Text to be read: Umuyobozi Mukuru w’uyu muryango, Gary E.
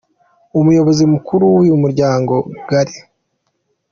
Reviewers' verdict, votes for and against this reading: rejected, 0, 2